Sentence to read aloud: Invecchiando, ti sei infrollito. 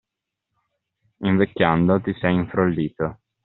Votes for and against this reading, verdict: 2, 0, accepted